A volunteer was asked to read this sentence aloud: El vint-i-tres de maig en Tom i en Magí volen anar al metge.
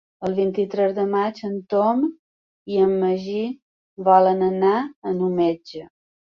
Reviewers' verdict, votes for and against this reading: accepted, 2, 1